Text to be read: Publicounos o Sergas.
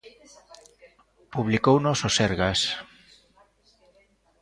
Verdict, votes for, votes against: accepted, 2, 0